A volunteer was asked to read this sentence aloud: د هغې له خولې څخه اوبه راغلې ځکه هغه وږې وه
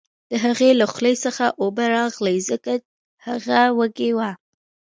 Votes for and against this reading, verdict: 2, 0, accepted